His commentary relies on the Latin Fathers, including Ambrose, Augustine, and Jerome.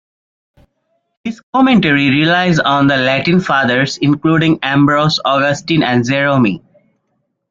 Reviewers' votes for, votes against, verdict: 1, 2, rejected